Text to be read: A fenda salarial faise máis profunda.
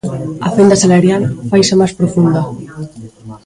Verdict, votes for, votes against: rejected, 0, 2